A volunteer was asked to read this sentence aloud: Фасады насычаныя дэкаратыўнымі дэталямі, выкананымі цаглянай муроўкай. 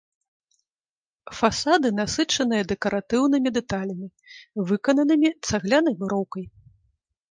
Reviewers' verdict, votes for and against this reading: accepted, 3, 0